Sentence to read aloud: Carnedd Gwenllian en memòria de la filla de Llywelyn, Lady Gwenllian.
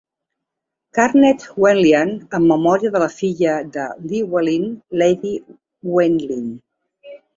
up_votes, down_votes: 0, 3